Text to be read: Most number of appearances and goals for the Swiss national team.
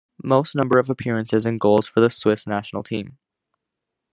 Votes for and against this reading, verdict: 2, 0, accepted